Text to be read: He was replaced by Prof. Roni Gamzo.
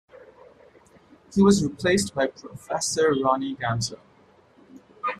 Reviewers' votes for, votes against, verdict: 2, 0, accepted